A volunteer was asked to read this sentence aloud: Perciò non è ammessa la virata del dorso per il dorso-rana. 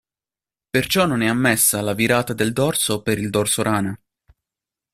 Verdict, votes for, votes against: accepted, 2, 0